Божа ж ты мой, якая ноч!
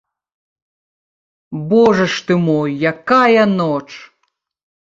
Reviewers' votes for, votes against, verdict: 2, 0, accepted